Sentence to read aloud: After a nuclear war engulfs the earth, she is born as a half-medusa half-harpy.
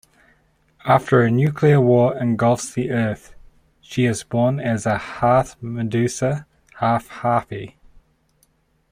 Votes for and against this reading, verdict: 2, 0, accepted